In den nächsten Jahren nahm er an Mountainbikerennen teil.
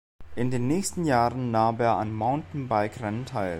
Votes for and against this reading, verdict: 2, 0, accepted